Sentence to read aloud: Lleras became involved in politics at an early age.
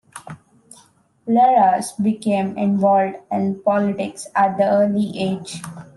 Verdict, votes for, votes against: rejected, 1, 2